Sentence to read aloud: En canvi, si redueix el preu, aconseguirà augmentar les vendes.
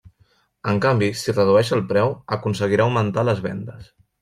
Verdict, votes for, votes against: accepted, 3, 0